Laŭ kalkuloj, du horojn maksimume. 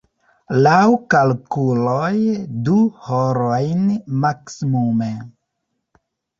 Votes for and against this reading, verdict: 0, 2, rejected